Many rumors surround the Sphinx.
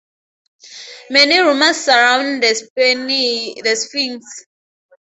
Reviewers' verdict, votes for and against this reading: rejected, 0, 2